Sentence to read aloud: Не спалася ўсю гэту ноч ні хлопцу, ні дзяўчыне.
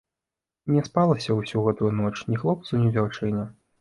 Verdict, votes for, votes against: accepted, 2, 0